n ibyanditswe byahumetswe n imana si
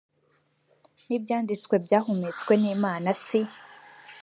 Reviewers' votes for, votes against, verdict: 2, 0, accepted